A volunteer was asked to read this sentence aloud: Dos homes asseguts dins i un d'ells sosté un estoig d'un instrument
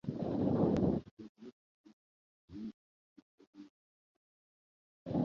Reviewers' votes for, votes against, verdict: 0, 2, rejected